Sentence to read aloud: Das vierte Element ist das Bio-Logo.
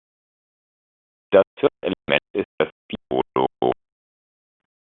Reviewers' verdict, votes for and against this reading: rejected, 0, 2